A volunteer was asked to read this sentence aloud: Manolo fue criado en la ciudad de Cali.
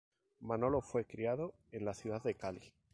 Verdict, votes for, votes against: rejected, 2, 2